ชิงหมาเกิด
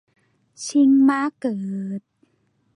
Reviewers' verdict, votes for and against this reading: rejected, 2, 2